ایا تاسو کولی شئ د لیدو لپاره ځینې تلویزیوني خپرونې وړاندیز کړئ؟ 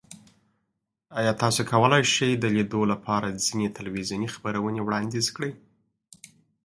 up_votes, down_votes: 2, 0